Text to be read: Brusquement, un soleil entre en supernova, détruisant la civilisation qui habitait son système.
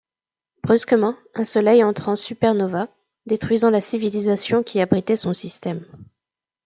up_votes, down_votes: 0, 2